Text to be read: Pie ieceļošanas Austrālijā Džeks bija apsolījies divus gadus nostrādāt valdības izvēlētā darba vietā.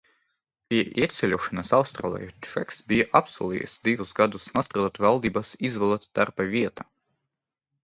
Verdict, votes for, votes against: accepted, 2, 0